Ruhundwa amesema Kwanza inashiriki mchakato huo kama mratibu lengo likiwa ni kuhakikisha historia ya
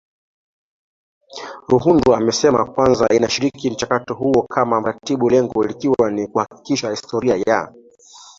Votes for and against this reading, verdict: 1, 2, rejected